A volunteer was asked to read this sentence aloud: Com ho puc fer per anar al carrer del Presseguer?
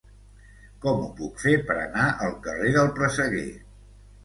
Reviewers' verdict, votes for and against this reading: accepted, 2, 0